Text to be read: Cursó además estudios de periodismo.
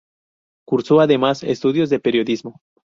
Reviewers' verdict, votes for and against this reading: accepted, 2, 0